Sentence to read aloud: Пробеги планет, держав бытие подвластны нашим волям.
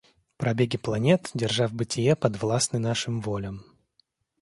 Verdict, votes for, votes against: accepted, 2, 0